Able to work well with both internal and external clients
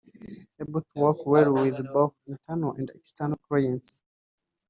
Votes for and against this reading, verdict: 1, 2, rejected